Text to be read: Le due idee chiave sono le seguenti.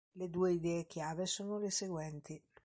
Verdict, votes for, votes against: rejected, 1, 2